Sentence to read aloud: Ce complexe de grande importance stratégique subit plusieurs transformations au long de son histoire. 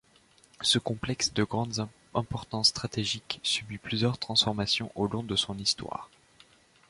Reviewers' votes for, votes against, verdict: 1, 2, rejected